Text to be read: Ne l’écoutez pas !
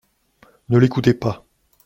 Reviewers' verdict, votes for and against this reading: accepted, 2, 0